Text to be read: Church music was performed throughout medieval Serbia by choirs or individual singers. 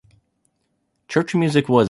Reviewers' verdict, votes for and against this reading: rejected, 0, 2